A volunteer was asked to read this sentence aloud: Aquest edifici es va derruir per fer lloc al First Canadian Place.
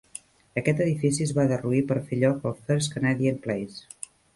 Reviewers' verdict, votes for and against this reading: accepted, 2, 0